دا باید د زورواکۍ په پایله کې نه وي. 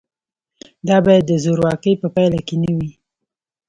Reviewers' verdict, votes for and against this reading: accepted, 2, 0